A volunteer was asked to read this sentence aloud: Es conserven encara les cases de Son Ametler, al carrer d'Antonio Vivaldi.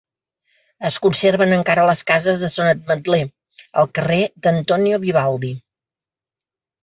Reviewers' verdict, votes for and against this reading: accepted, 2, 0